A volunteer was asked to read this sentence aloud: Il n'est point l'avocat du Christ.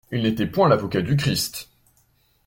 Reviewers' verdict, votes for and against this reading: rejected, 0, 2